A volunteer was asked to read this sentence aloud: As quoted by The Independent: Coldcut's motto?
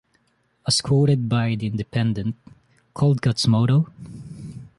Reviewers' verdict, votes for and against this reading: accepted, 2, 0